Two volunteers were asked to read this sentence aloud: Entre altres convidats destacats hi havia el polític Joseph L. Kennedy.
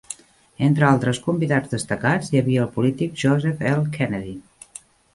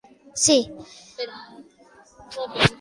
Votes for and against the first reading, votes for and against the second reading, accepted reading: 3, 1, 0, 2, first